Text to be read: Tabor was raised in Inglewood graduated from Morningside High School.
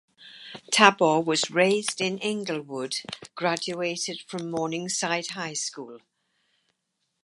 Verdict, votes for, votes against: accepted, 4, 0